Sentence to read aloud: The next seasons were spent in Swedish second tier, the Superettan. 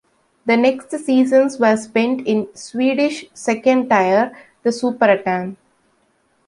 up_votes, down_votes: 0, 2